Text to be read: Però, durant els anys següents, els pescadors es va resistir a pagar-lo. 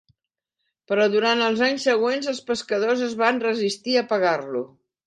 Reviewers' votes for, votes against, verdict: 0, 3, rejected